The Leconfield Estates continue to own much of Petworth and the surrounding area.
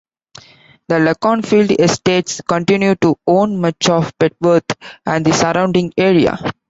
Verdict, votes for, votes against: accepted, 2, 0